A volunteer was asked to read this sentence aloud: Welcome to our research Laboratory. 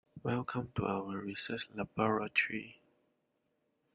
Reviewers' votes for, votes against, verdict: 2, 1, accepted